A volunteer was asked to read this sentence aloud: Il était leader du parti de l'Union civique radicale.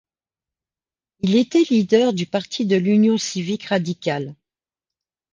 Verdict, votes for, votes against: accepted, 2, 0